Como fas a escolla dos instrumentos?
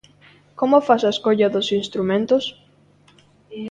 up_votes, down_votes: 2, 0